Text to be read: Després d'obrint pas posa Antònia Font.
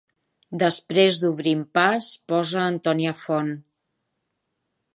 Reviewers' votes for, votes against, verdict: 3, 0, accepted